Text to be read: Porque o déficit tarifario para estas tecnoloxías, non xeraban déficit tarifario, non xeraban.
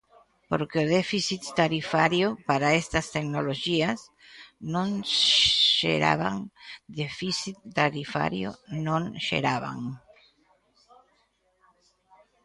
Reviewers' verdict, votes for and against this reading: rejected, 1, 2